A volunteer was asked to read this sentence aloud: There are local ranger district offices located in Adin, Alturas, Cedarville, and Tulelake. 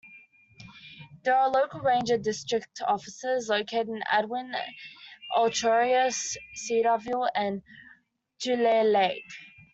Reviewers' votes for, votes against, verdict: 0, 2, rejected